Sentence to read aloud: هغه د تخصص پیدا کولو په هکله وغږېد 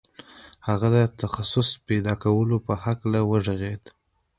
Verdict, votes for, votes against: accepted, 2, 1